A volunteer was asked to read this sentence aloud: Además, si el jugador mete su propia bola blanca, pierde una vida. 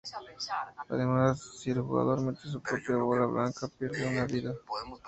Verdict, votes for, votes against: rejected, 0, 2